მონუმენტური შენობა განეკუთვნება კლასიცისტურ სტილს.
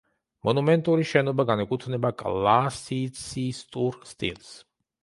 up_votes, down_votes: 1, 2